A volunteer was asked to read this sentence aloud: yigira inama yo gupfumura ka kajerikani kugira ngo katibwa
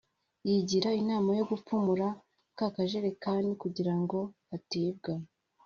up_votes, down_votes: 2, 0